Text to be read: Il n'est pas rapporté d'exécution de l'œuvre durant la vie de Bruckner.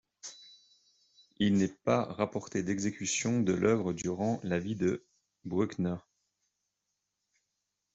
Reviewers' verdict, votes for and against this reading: rejected, 1, 2